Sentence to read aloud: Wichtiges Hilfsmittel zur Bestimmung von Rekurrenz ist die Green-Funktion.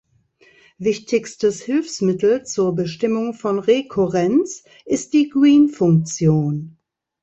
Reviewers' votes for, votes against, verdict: 0, 2, rejected